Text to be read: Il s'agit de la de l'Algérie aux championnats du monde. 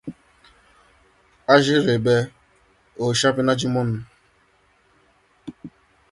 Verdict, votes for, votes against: rejected, 1, 2